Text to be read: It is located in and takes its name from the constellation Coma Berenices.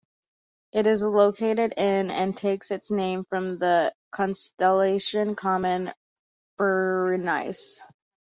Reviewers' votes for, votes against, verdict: 0, 2, rejected